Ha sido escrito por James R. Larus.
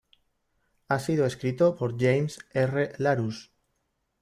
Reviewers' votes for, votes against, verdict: 1, 2, rejected